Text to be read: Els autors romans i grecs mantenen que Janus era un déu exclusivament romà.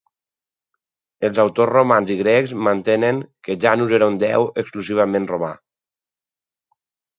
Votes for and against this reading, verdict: 6, 0, accepted